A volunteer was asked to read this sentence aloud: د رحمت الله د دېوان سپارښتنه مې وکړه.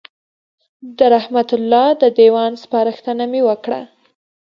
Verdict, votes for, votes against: accepted, 2, 0